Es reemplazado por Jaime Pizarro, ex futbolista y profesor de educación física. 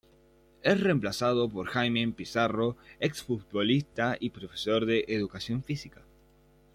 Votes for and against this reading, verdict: 2, 1, accepted